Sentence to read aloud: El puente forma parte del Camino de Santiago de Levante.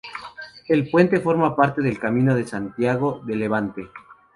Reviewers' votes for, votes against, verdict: 2, 0, accepted